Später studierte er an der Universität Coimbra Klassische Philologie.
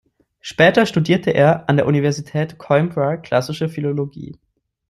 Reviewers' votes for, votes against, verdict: 2, 0, accepted